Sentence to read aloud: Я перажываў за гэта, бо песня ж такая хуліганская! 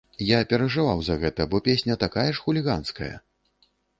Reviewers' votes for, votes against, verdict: 0, 2, rejected